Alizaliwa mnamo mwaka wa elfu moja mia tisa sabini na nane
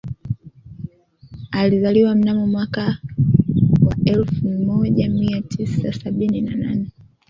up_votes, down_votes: 2, 1